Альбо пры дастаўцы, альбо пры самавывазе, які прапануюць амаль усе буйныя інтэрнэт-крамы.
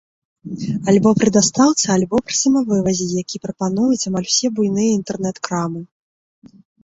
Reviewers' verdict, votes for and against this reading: accepted, 4, 0